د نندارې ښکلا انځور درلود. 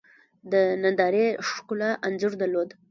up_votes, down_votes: 1, 2